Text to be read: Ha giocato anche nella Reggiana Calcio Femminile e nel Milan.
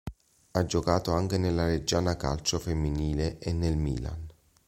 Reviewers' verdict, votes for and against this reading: accepted, 2, 0